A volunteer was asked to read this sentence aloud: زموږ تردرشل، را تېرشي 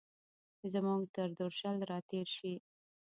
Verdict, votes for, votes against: rejected, 1, 2